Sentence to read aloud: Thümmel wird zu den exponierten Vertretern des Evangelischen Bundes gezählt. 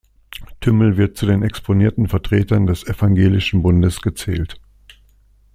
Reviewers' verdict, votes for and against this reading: accepted, 2, 0